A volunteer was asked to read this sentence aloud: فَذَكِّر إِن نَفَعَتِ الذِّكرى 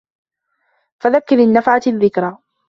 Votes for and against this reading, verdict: 2, 0, accepted